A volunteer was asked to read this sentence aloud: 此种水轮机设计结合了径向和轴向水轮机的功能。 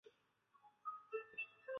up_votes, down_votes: 0, 4